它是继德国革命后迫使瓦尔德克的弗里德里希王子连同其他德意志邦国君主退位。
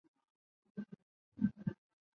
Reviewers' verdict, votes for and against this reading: rejected, 0, 4